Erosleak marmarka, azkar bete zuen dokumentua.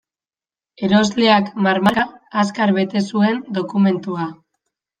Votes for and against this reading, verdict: 0, 2, rejected